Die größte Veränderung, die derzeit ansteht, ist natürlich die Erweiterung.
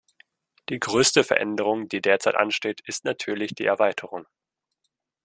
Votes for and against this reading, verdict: 2, 0, accepted